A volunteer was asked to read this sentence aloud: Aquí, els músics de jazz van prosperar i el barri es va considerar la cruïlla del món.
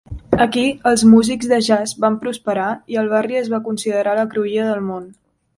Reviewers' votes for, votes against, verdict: 3, 0, accepted